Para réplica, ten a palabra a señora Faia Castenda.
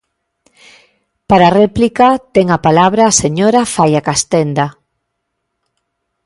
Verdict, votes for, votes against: accepted, 2, 0